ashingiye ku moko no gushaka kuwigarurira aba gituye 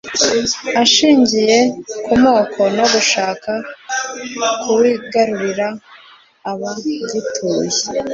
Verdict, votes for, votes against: accepted, 2, 0